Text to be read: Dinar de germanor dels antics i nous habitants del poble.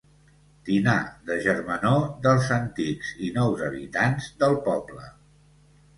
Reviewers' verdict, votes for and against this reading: accepted, 2, 0